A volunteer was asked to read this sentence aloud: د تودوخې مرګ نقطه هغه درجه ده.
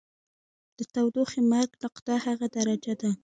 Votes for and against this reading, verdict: 2, 0, accepted